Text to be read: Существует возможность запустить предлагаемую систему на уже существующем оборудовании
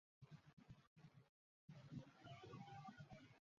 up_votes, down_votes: 0, 2